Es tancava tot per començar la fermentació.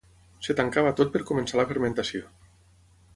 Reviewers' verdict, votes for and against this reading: accepted, 6, 3